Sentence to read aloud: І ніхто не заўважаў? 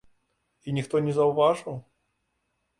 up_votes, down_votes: 0, 2